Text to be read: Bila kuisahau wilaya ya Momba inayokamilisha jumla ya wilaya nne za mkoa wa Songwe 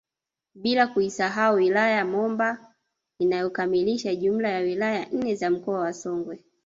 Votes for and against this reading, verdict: 1, 2, rejected